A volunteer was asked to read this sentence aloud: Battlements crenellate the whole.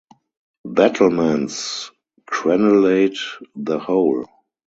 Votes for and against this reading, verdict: 4, 0, accepted